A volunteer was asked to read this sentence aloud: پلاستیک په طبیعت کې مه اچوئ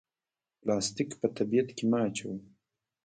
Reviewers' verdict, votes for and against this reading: accepted, 2, 1